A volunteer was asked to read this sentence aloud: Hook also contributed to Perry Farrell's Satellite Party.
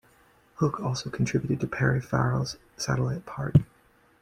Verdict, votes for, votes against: accepted, 2, 0